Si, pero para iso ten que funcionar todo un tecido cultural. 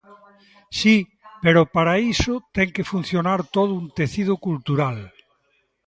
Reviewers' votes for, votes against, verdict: 0, 2, rejected